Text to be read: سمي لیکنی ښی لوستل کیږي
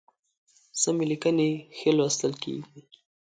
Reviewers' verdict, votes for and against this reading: accepted, 2, 1